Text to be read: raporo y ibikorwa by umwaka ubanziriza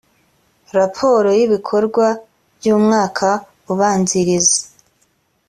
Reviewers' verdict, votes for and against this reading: accepted, 3, 0